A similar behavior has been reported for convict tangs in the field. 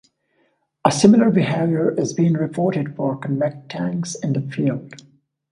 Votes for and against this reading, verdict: 1, 2, rejected